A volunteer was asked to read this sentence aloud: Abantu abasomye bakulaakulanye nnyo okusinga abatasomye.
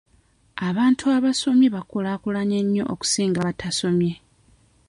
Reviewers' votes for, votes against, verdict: 2, 0, accepted